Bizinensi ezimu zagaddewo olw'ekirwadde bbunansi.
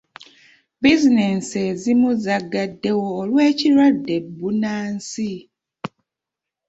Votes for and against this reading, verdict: 2, 0, accepted